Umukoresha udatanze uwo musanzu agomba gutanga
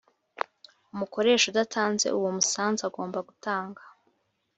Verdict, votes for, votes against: accepted, 2, 0